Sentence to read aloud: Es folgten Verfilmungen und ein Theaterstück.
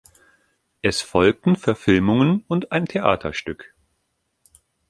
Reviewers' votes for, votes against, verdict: 3, 1, accepted